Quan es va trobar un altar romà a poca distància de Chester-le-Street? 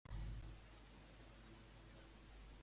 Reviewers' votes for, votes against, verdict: 0, 2, rejected